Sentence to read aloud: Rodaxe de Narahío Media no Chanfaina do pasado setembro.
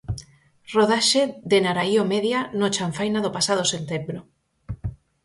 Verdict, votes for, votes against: accepted, 4, 2